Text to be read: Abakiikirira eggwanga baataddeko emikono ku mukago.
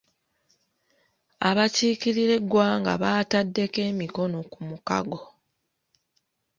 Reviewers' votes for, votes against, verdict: 2, 0, accepted